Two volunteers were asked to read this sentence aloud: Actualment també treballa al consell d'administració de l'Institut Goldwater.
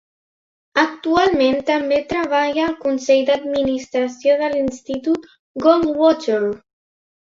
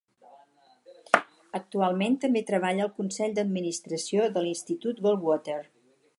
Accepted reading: first